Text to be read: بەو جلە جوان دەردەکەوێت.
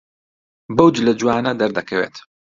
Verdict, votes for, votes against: rejected, 1, 2